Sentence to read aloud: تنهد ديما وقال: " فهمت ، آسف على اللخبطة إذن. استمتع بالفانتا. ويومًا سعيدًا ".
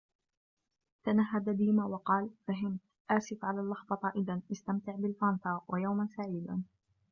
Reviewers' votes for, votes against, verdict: 1, 2, rejected